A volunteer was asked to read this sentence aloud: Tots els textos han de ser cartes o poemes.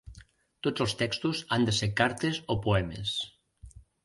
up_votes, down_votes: 2, 0